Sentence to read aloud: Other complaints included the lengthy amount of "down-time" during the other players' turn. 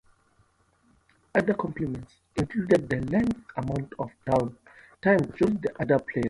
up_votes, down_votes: 0, 2